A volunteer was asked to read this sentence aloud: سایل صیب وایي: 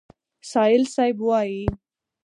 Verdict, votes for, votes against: accepted, 4, 0